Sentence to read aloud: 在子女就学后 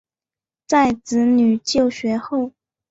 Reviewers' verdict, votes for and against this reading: accepted, 2, 0